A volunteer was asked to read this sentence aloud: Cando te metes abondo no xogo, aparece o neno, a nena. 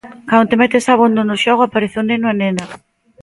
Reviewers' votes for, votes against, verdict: 2, 0, accepted